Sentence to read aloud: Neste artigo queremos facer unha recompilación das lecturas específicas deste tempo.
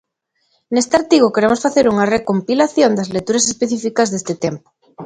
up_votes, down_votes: 3, 0